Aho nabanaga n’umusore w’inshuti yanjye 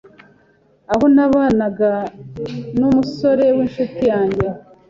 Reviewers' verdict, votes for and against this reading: accepted, 2, 0